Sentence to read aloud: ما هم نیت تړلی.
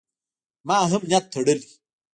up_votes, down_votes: 1, 2